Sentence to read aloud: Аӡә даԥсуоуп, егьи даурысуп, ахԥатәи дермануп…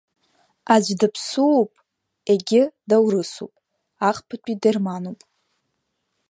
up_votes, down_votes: 0, 2